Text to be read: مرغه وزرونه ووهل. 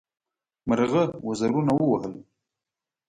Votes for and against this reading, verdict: 2, 0, accepted